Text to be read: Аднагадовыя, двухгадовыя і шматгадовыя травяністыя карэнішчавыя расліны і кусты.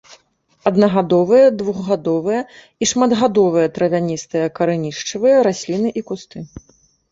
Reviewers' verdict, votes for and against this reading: accepted, 3, 0